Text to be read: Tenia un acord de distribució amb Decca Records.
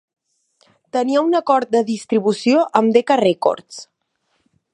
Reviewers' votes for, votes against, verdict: 2, 0, accepted